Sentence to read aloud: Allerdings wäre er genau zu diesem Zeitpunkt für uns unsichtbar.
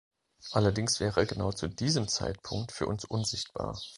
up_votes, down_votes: 2, 0